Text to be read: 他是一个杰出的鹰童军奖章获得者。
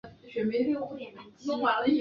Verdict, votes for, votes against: rejected, 0, 7